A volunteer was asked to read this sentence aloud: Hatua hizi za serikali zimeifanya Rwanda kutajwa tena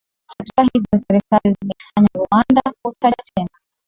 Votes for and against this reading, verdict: 0, 2, rejected